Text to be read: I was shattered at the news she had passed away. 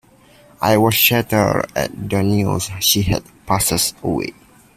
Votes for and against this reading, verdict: 0, 2, rejected